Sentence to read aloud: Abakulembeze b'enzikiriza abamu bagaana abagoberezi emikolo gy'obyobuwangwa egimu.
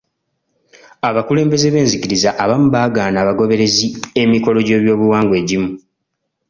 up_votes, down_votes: 1, 2